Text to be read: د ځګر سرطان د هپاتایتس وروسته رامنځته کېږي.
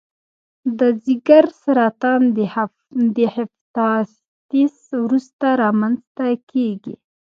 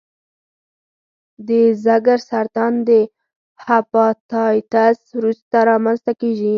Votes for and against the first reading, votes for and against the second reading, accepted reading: 1, 2, 4, 0, second